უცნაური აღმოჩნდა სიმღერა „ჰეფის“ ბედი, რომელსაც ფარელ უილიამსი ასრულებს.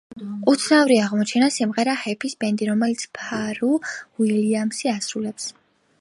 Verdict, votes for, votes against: rejected, 1, 2